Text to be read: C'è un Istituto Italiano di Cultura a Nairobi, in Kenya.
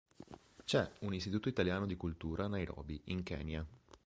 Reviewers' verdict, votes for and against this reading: rejected, 0, 2